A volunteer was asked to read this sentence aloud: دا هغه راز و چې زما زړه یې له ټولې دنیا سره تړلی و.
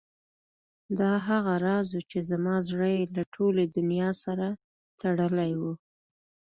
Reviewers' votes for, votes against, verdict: 3, 0, accepted